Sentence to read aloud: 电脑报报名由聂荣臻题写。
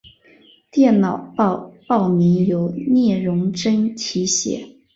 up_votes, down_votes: 4, 0